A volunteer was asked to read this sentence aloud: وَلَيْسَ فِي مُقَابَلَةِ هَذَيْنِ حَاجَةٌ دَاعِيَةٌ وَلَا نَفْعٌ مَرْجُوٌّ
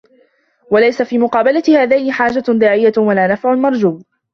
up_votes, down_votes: 2, 1